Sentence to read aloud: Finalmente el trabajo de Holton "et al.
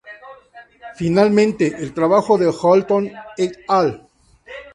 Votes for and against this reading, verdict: 2, 0, accepted